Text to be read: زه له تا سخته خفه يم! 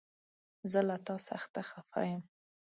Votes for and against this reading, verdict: 2, 0, accepted